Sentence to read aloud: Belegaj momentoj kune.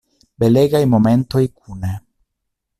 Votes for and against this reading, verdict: 2, 0, accepted